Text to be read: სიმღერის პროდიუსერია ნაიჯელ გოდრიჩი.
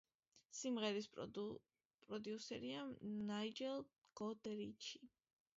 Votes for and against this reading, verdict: 0, 2, rejected